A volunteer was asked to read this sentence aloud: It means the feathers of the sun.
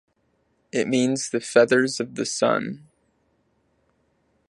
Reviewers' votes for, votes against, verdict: 2, 0, accepted